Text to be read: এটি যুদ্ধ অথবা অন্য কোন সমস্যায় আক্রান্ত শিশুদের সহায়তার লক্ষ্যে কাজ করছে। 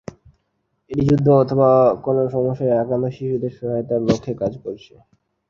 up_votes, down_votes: 3, 6